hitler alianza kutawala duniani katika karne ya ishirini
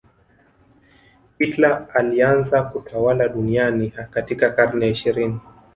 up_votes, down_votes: 2, 0